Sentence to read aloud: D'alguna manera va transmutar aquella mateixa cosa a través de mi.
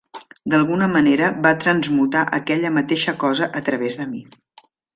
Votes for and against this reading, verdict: 0, 2, rejected